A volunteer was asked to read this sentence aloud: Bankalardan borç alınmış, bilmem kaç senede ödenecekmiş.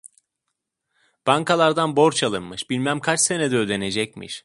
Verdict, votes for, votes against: accepted, 2, 0